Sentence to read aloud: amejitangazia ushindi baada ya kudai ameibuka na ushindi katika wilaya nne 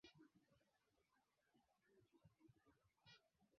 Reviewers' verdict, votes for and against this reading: rejected, 0, 6